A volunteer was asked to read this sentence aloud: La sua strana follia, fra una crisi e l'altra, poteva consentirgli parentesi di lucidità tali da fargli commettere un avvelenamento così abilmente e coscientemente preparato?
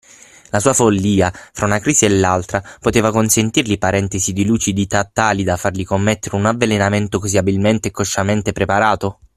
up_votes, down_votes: 3, 9